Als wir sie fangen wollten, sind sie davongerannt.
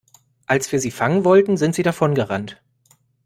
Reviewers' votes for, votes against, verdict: 2, 0, accepted